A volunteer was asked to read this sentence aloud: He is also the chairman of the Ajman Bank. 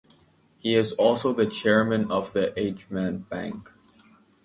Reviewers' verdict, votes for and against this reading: accepted, 2, 1